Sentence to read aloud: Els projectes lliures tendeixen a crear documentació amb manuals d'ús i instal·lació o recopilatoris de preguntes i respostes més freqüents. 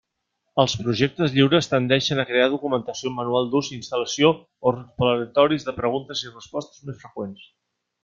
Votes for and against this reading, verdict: 0, 2, rejected